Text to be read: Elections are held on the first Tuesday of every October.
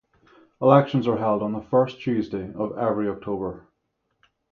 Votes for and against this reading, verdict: 3, 3, rejected